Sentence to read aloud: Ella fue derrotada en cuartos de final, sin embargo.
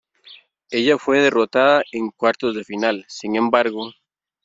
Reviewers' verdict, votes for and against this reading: accepted, 2, 0